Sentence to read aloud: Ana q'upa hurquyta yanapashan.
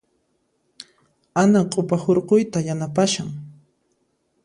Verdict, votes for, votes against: accepted, 2, 0